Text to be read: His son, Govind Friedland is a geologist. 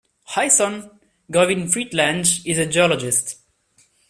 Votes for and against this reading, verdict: 1, 2, rejected